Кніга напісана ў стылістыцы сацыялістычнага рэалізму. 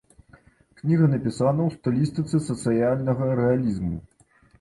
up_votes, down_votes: 0, 2